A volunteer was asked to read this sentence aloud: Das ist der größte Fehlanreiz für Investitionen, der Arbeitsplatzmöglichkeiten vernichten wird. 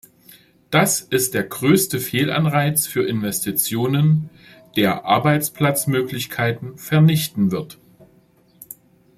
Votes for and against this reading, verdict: 2, 0, accepted